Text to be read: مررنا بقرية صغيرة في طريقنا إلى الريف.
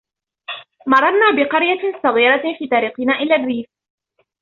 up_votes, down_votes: 2, 0